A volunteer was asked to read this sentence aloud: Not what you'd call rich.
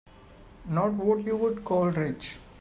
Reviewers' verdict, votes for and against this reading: rejected, 1, 2